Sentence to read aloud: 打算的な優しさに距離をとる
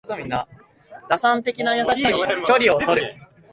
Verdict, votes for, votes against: rejected, 0, 2